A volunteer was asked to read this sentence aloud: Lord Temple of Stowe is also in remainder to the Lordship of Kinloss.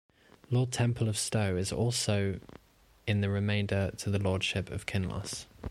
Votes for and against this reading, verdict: 0, 2, rejected